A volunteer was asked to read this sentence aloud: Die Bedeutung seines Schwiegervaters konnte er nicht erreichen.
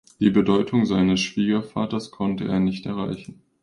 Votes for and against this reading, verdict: 2, 0, accepted